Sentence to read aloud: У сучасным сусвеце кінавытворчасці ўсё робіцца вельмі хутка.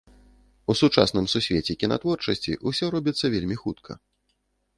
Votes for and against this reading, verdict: 0, 2, rejected